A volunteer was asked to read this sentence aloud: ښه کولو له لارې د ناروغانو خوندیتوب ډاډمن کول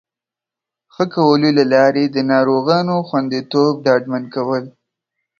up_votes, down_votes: 2, 0